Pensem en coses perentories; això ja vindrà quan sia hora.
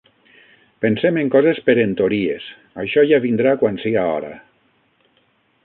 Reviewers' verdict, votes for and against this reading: rejected, 0, 6